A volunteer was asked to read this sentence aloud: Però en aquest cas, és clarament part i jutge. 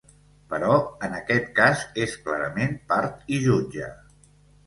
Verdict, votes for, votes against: accepted, 2, 0